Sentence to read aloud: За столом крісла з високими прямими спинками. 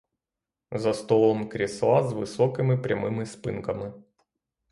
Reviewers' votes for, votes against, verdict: 3, 0, accepted